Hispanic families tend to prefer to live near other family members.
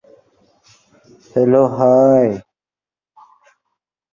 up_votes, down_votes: 0, 2